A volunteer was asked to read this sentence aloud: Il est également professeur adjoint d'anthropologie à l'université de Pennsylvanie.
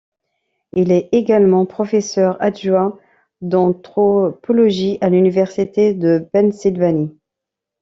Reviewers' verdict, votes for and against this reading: accepted, 2, 1